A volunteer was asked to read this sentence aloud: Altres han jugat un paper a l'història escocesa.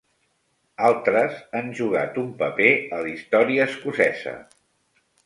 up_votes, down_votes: 3, 0